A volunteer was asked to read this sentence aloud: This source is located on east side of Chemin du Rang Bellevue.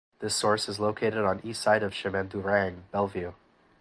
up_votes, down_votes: 4, 0